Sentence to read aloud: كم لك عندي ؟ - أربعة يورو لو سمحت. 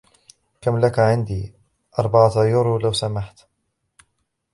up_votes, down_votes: 1, 2